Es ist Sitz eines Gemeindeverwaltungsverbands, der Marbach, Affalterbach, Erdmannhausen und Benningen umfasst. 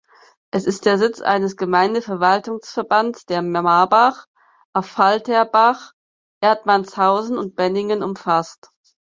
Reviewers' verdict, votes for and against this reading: rejected, 0, 4